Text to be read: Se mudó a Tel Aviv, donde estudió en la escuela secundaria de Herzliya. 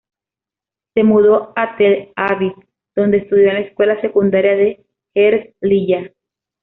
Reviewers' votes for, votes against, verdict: 2, 0, accepted